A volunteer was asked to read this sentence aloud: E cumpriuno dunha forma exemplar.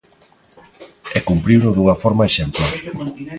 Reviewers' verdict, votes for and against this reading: rejected, 0, 2